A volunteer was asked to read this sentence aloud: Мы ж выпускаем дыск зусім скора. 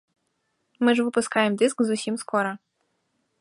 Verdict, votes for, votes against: accepted, 2, 0